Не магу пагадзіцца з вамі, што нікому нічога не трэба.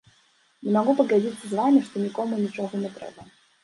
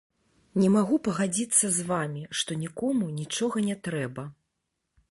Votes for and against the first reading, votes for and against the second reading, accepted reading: 1, 2, 2, 0, second